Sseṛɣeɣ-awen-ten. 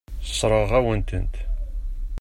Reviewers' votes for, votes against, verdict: 0, 2, rejected